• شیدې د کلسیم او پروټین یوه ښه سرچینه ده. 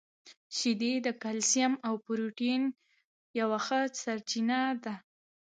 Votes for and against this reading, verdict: 0, 2, rejected